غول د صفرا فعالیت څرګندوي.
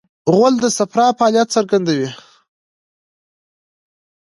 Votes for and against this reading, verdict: 2, 1, accepted